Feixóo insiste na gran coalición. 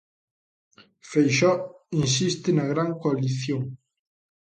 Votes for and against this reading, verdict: 3, 0, accepted